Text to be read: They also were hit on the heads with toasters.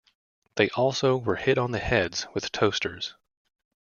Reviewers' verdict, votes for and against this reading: accepted, 2, 0